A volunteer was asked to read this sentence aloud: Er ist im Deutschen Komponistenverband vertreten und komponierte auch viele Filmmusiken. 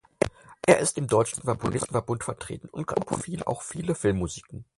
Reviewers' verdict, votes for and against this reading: rejected, 0, 4